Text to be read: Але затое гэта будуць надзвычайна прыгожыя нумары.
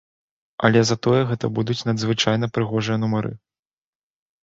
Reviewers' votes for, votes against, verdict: 2, 0, accepted